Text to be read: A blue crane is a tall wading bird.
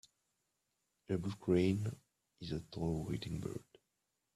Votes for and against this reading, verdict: 1, 2, rejected